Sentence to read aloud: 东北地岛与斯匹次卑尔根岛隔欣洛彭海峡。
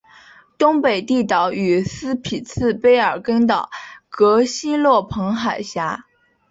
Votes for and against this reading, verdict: 4, 0, accepted